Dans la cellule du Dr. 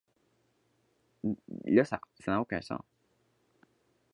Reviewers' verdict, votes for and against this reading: rejected, 0, 2